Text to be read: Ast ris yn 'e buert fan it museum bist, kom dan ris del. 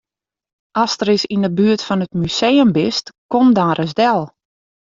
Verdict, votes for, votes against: rejected, 0, 2